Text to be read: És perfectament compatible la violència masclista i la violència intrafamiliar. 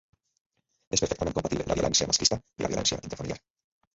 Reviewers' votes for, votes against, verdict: 0, 2, rejected